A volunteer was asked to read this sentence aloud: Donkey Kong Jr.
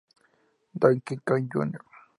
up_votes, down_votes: 2, 0